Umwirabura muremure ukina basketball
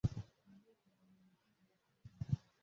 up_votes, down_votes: 0, 2